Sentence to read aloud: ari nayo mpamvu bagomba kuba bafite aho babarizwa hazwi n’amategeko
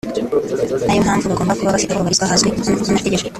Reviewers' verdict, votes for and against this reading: rejected, 0, 4